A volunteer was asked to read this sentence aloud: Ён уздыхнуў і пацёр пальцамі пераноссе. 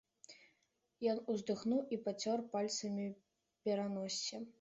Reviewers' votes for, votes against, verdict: 2, 1, accepted